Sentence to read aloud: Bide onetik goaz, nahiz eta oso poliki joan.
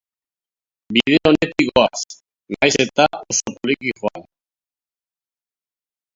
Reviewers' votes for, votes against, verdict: 0, 3, rejected